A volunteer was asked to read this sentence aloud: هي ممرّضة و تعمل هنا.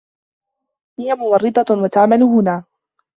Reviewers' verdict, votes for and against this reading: accepted, 2, 0